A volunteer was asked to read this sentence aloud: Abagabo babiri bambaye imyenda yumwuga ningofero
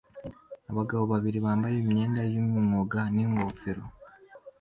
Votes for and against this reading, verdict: 2, 0, accepted